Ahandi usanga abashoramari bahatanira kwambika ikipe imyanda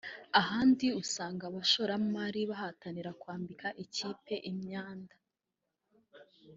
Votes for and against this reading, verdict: 2, 1, accepted